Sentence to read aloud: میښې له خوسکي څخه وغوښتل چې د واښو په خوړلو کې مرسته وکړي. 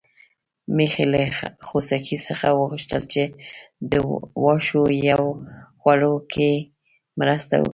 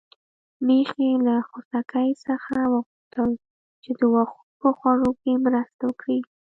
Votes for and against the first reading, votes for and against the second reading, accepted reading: 2, 0, 1, 2, first